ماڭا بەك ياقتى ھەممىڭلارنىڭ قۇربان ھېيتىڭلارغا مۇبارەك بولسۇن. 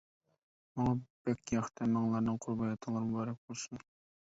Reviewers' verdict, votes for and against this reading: rejected, 1, 2